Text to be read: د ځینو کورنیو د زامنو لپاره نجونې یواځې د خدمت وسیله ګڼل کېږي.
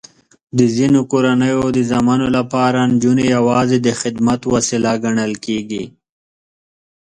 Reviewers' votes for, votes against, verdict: 0, 2, rejected